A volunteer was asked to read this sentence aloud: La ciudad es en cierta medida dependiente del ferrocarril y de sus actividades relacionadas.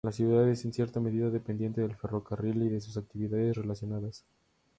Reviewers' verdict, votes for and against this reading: accepted, 2, 0